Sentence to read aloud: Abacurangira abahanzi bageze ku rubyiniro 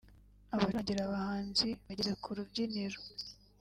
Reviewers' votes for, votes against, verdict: 0, 2, rejected